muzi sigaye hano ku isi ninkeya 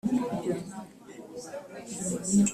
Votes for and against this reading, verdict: 0, 2, rejected